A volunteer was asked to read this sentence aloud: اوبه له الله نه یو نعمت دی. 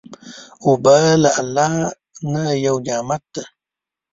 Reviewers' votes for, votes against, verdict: 2, 3, rejected